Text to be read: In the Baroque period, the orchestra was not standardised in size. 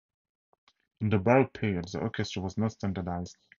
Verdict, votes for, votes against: rejected, 0, 4